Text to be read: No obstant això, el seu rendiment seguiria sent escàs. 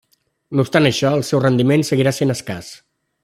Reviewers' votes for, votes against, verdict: 0, 2, rejected